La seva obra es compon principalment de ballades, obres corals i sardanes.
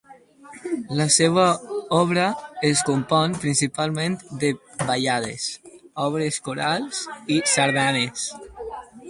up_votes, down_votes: 2, 2